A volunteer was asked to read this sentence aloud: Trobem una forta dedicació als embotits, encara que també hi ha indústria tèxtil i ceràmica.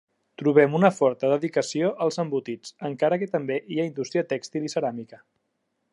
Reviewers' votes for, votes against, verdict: 3, 0, accepted